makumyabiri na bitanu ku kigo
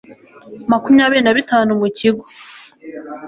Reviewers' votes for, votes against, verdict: 2, 0, accepted